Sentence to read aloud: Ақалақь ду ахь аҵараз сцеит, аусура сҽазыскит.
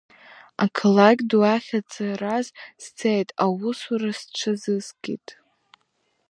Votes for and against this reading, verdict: 1, 2, rejected